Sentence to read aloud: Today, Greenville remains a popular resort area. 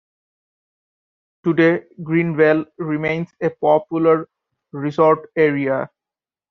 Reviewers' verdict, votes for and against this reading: accepted, 2, 0